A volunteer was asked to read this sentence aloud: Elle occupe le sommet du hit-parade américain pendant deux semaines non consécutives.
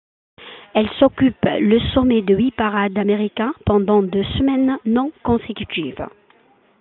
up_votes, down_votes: 1, 2